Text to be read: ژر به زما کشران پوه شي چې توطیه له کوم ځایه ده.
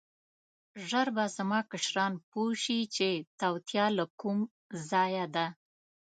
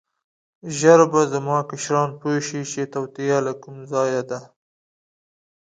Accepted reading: second